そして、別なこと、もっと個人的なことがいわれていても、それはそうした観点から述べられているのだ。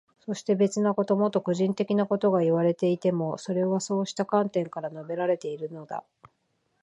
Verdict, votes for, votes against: accepted, 2, 0